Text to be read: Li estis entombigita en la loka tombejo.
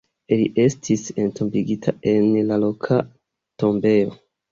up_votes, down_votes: 2, 1